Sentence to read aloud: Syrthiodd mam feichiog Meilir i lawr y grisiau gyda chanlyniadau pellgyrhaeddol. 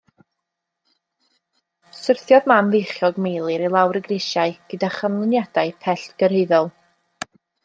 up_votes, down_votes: 2, 0